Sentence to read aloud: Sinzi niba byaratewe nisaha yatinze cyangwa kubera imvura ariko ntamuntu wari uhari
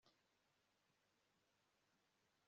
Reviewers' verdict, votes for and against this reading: rejected, 1, 2